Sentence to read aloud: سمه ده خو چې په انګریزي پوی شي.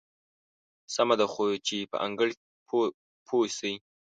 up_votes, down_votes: 1, 2